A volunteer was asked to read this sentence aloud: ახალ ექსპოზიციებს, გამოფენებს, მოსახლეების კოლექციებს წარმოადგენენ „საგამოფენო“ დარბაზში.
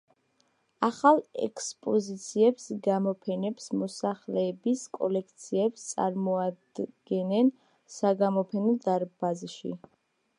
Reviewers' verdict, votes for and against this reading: accepted, 2, 0